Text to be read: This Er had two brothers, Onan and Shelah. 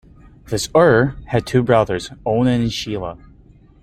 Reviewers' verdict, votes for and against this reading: accepted, 2, 0